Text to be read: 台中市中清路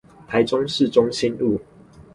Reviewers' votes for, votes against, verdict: 2, 2, rejected